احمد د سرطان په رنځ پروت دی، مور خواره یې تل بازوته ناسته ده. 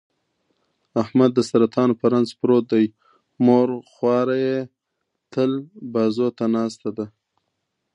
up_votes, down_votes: 2, 0